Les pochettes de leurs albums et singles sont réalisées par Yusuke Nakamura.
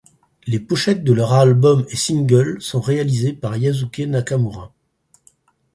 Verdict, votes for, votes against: rejected, 2, 4